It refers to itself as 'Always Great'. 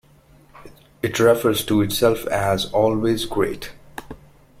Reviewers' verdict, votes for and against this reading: rejected, 1, 2